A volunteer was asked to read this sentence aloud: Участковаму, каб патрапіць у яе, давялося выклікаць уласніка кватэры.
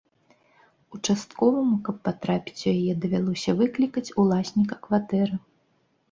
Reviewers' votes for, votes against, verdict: 2, 0, accepted